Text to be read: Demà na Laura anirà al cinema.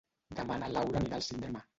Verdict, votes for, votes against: rejected, 1, 2